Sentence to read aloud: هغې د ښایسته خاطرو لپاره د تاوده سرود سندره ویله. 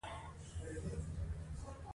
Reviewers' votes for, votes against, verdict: 0, 2, rejected